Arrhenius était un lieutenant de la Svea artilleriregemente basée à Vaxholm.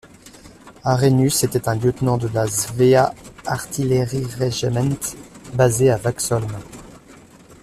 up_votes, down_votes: 1, 2